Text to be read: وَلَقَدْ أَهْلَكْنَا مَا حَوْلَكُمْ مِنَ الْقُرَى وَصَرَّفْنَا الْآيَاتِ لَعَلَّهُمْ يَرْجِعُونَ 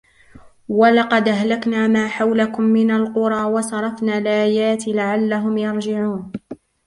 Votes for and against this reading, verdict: 0, 2, rejected